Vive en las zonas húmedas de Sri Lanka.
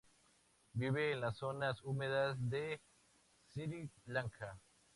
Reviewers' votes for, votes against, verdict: 2, 0, accepted